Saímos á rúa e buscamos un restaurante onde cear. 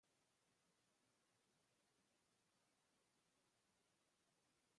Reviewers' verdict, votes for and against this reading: rejected, 0, 2